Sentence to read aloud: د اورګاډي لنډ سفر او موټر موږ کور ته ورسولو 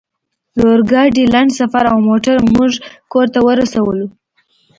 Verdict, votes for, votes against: accepted, 2, 0